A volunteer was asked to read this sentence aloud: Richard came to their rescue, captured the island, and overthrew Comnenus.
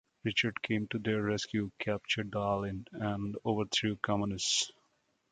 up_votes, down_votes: 1, 2